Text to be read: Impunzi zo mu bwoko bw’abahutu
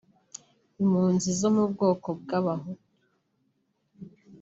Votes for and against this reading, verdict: 1, 2, rejected